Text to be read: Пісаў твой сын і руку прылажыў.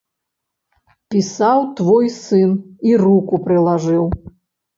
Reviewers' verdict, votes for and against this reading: accepted, 2, 0